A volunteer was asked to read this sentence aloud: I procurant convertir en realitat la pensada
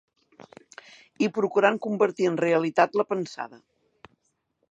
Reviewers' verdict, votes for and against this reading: accepted, 4, 0